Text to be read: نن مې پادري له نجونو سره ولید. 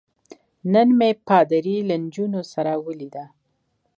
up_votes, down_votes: 1, 2